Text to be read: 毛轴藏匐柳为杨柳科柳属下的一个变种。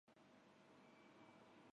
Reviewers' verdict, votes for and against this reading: rejected, 1, 5